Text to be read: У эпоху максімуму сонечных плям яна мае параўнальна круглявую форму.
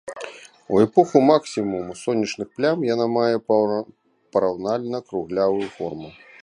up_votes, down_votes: 0, 2